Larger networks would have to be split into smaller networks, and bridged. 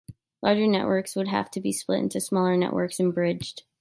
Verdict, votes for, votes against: rejected, 1, 2